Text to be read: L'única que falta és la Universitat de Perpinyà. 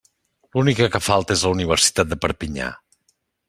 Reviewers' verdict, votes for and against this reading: accepted, 3, 0